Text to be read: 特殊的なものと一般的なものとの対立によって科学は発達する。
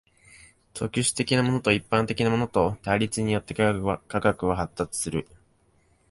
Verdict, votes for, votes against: rejected, 1, 2